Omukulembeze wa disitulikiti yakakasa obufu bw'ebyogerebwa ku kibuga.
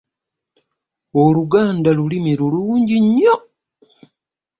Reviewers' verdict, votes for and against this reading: rejected, 0, 2